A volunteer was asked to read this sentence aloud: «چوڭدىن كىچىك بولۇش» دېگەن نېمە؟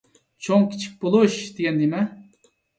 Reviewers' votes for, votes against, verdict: 2, 0, accepted